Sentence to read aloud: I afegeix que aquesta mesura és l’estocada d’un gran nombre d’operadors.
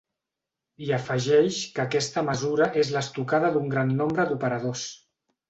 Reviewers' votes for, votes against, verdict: 3, 0, accepted